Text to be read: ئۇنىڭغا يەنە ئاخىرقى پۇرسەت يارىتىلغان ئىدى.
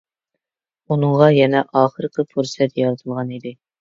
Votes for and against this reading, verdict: 2, 0, accepted